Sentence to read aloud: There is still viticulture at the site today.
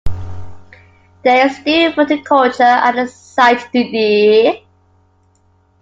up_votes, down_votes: 0, 2